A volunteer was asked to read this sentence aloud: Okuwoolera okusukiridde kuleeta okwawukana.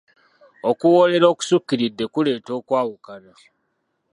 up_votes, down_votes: 2, 0